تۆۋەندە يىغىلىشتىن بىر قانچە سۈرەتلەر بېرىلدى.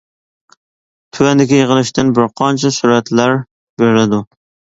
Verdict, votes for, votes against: rejected, 0, 2